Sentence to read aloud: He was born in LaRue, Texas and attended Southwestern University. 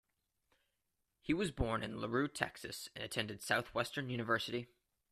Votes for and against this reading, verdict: 2, 0, accepted